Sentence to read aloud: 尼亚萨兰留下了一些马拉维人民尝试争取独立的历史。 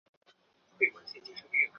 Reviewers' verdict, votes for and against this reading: rejected, 0, 2